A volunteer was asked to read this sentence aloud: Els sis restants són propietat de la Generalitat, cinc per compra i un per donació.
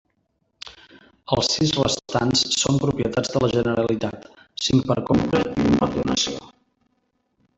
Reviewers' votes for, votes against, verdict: 0, 2, rejected